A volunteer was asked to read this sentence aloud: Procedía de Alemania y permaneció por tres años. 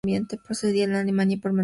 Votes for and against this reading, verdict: 0, 2, rejected